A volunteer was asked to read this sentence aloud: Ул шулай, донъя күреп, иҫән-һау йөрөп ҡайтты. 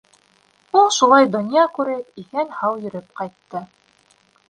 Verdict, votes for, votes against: accepted, 2, 0